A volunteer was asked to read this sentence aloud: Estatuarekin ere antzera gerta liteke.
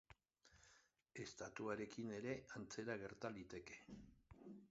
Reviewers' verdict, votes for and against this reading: accepted, 3, 0